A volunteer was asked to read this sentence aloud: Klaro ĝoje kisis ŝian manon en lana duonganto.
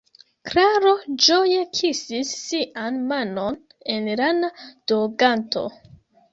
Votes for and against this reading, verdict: 0, 2, rejected